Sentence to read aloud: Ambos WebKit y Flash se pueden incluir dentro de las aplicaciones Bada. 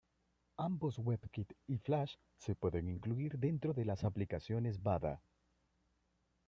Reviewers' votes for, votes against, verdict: 0, 2, rejected